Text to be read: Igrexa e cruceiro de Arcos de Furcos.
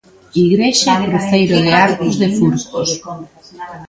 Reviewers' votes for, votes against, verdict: 1, 2, rejected